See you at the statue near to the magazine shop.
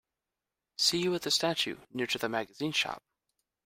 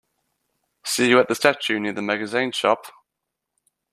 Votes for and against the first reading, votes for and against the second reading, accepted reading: 2, 0, 1, 2, first